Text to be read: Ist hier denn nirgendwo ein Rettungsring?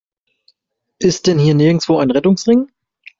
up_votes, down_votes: 1, 2